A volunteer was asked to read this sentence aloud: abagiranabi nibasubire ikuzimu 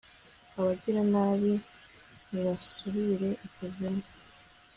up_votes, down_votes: 2, 0